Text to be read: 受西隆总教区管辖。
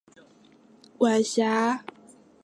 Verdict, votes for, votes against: rejected, 1, 3